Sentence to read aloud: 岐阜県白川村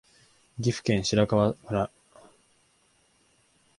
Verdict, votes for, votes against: accepted, 2, 0